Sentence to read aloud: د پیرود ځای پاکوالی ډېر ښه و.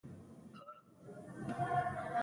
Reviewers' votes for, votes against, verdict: 0, 2, rejected